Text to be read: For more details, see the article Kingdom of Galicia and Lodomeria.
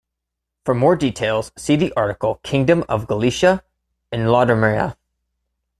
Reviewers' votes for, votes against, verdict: 2, 0, accepted